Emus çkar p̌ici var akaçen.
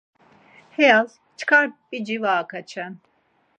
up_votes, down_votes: 2, 4